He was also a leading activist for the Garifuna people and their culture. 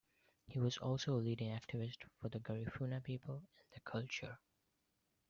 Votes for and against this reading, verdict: 2, 0, accepted